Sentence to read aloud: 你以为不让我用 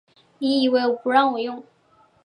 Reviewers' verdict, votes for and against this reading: accepted, 4, 0